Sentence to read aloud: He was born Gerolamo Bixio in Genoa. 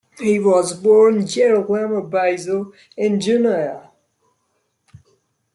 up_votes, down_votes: 2, 0